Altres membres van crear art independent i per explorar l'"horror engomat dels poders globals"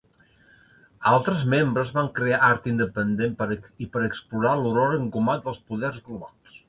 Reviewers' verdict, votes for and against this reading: rejected, 0, 2